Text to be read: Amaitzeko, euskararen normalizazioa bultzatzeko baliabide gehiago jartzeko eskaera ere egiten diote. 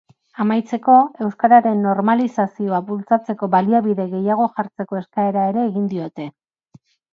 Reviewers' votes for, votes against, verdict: 0, 2, rejected